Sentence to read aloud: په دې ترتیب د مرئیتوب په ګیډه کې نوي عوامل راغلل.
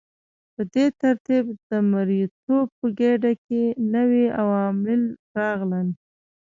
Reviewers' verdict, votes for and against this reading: rejected, 0, 2